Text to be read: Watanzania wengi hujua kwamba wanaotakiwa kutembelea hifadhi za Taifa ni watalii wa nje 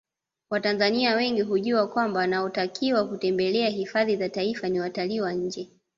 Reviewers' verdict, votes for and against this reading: accepted, 2, 0